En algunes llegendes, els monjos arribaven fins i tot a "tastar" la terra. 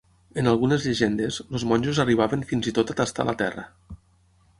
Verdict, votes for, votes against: accepted, 6, 0